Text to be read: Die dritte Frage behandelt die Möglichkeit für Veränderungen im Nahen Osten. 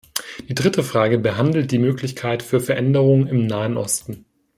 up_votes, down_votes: 2, 0